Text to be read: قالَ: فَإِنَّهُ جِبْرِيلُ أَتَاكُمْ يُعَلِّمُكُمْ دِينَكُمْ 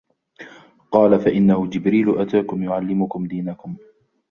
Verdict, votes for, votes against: rejected, 1, 2